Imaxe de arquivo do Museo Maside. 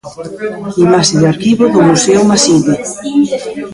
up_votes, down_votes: 0, 2